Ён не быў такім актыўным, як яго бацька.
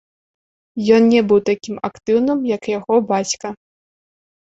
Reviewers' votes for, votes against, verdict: 1, 2, rejected